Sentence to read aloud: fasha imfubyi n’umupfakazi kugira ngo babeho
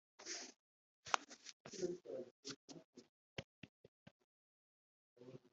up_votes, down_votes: 1, 2